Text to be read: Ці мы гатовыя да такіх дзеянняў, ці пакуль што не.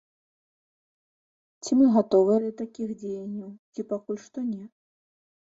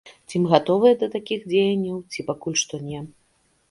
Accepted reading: second